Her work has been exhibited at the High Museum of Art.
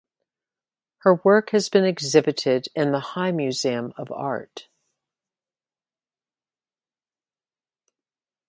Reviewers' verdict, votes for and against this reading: rejected, 1, 2